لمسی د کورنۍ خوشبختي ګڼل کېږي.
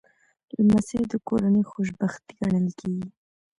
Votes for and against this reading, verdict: 2, 0, accepted